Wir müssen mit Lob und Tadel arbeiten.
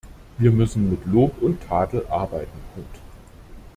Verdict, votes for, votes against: rejected, 0, 2